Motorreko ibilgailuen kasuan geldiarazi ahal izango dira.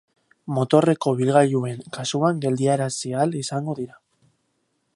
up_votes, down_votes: 2, 0